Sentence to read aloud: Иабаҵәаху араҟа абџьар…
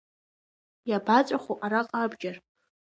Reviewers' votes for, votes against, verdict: 2, 0, accepted